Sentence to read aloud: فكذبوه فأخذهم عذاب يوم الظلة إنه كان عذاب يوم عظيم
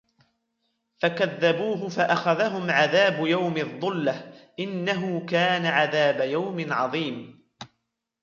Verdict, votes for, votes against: rejected, 0, 2